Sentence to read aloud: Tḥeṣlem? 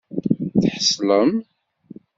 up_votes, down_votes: 2, 0